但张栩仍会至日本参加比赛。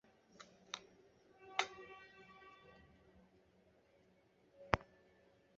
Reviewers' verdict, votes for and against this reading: rejected, 0, 2